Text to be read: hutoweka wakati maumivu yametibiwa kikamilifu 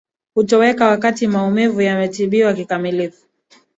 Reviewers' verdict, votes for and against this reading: accepted, 2, 0